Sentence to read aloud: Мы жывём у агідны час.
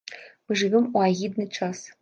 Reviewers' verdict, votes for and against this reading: accepted, 2, 0